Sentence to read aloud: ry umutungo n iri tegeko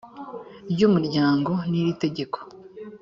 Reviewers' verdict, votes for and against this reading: rejected, 1, 2